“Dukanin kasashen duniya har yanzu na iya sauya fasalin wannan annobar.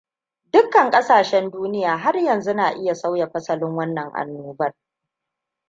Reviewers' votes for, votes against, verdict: 1, 2, rejected